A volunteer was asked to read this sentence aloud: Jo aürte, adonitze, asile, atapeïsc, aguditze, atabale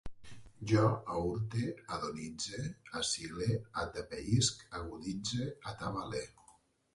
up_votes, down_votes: 2, 0